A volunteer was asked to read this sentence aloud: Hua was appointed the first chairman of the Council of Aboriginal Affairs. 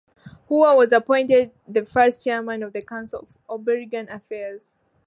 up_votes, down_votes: 1, 2